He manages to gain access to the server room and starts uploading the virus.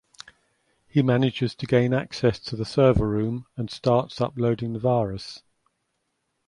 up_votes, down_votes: 2, 0